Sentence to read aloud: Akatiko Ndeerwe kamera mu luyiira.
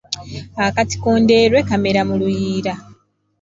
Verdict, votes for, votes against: accepted, 2, 0